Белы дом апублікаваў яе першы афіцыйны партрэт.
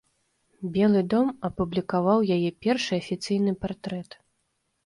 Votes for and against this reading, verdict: 2, 0, accepted